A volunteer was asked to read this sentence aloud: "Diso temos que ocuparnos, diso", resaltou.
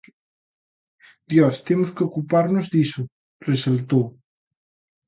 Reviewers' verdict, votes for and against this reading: rejected, 0, 2